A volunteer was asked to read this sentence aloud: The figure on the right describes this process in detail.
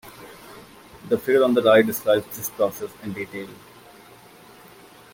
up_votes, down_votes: 2, 0